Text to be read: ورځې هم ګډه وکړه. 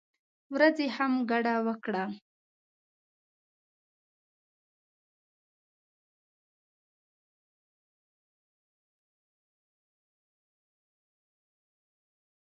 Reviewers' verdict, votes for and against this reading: rejected, 1, 2